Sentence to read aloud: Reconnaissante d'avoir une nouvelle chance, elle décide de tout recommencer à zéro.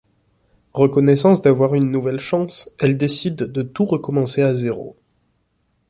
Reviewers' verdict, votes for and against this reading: rejected, 0, 2